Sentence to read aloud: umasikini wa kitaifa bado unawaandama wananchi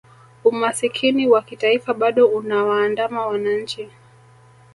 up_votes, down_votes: 2, 0